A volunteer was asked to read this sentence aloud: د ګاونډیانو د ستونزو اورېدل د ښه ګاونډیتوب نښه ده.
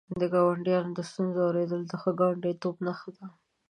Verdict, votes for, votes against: accepted, 2, 0